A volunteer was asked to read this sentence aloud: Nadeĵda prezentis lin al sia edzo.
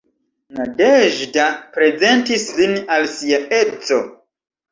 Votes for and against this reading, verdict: 2, 0, accepted